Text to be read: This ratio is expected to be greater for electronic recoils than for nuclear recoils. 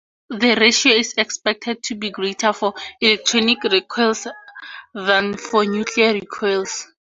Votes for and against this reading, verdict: 4, 0, accepted